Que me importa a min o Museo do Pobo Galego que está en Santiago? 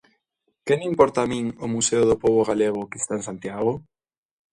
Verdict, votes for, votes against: accepted, 2, 0